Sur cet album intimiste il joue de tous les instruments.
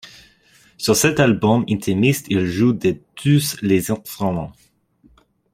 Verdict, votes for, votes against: rejected, 0, 2